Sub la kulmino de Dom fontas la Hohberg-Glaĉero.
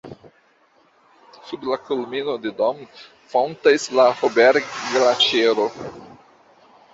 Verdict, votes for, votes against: accepted, 2, 0